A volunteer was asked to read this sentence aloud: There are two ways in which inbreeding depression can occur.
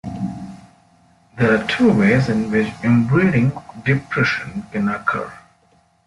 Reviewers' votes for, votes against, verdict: 2, 1, accepted